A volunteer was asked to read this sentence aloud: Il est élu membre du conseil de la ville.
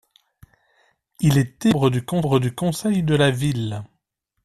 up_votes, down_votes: 0, 2